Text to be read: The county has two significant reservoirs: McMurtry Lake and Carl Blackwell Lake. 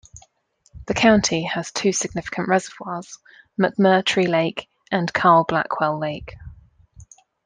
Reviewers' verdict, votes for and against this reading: accepted, 2, 0